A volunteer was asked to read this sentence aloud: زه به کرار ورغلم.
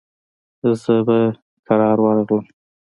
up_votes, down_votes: 2, 0